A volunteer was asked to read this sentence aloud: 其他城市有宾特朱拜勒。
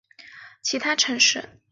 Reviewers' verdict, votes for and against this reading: rejected, 0, 2